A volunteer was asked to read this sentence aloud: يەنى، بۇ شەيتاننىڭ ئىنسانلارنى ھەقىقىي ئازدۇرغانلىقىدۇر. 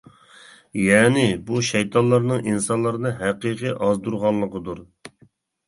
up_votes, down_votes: 0, 2